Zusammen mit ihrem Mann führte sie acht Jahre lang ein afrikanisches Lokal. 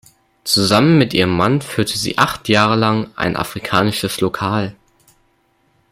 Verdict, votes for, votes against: accepted, 2, 0